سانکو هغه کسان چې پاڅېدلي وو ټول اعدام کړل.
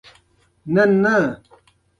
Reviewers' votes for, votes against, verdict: 2, 0, accepted